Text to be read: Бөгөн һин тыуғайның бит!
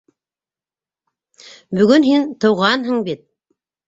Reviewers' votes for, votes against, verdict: 1, 2, rejected